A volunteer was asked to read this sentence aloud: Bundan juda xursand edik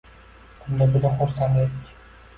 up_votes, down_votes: 1, 2